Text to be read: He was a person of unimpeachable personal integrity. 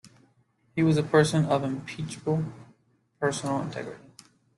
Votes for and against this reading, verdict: 0, 2, rejected